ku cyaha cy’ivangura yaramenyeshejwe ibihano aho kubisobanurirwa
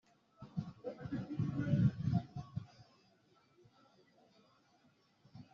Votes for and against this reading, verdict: 0, 2, rejected